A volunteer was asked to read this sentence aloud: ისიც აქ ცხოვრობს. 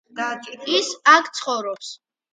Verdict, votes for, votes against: accepted, 2, 1